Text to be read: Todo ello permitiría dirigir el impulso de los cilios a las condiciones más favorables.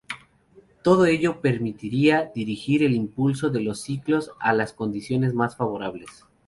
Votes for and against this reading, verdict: 2, 2, rejected